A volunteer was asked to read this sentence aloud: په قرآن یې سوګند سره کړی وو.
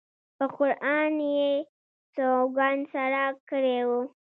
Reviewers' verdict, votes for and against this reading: rejected, 1, 2